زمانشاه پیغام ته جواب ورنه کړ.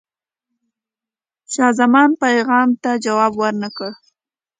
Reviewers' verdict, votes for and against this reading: accepted, 2, 1